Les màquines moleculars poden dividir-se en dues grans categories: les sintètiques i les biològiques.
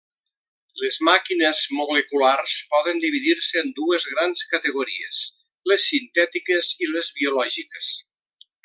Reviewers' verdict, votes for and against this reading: accepted, 2, 0